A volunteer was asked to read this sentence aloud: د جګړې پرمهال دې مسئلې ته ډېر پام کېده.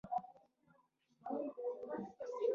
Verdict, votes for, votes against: rejected, 0, 2